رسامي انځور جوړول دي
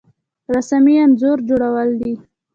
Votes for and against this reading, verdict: 1, 2, rejected